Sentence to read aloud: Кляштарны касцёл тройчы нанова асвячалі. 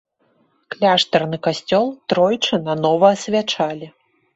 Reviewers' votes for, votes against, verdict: 1, 2, rejected